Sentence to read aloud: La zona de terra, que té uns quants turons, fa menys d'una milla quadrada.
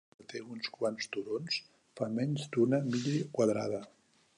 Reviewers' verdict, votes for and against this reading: rejected, 0, 2